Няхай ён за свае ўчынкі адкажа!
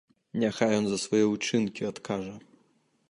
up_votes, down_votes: 2, 0